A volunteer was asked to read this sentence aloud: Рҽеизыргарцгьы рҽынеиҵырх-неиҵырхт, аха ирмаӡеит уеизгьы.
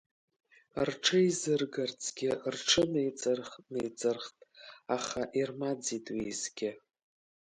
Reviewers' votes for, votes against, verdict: 1, 2, rejected